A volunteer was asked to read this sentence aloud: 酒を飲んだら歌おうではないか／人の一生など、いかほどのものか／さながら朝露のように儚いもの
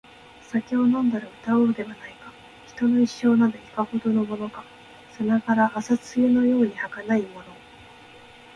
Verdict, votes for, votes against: accepted, 3, 0